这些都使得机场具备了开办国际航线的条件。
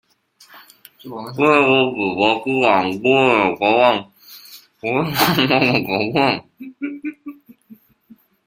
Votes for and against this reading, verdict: 0, 3, rejected